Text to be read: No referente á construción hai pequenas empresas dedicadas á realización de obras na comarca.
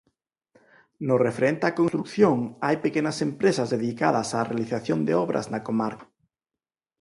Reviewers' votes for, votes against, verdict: 0, 4, rejected